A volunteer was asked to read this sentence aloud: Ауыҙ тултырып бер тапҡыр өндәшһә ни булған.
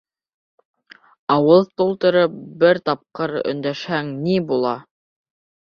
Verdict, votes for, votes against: rejected, 0, 2